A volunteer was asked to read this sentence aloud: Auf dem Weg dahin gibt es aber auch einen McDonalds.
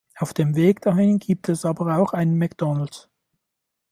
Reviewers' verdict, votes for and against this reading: accepted, 2, 0